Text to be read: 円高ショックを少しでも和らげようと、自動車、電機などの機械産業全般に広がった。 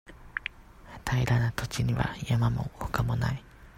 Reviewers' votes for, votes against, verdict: 0, 2, rejected